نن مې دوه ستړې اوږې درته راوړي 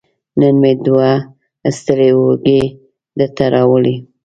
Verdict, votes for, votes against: accepted, 2, 0